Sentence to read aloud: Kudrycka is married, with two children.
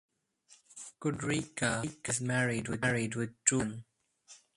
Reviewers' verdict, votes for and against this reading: rejected, 0, 2